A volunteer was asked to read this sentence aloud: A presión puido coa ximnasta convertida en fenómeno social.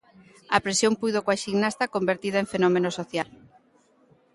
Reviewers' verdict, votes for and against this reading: rejected, 0, 2